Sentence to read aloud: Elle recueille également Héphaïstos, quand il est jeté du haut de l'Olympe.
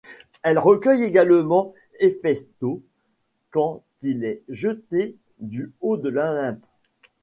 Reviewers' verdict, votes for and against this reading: rejected, 0, 2